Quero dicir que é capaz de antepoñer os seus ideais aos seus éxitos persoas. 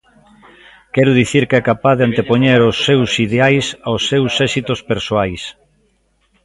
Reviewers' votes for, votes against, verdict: 1, 2, rejected